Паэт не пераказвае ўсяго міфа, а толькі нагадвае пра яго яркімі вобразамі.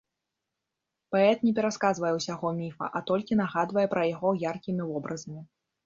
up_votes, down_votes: 1, 2